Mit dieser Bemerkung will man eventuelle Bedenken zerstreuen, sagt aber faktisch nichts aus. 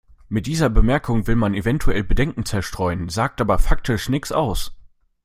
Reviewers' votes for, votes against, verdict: 0, 2, rejected